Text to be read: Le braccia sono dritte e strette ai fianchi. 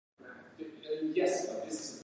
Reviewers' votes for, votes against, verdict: 0, 2, rejected